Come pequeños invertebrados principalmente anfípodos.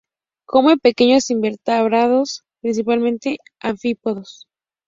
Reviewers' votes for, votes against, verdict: 2, 2, rejected